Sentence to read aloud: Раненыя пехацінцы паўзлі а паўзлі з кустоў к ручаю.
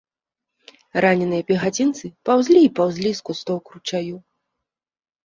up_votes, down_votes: 1, 2